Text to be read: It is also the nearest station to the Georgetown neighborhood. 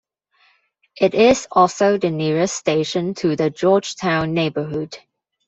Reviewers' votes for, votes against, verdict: 2, 1, accepted